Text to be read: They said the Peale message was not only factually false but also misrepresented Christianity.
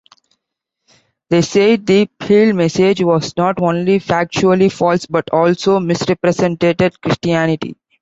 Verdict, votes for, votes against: accepted, 2, 1